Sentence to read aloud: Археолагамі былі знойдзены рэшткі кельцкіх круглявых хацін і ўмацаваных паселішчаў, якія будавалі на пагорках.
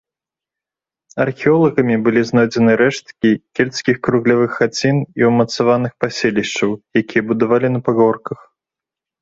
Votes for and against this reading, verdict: 2, 0, accepted